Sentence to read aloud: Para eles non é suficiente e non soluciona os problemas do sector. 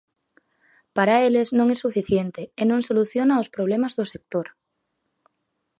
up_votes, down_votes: 4, 0